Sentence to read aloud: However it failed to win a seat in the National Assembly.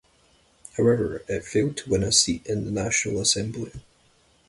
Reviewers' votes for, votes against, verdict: 0, 2, rejected